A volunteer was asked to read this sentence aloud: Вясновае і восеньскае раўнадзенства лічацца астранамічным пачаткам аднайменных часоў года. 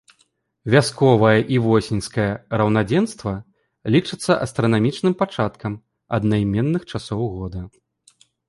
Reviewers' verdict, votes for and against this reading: rejected, 0, 2